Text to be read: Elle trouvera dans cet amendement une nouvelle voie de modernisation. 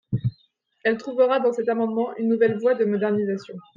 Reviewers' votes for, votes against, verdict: 2, 0, accepted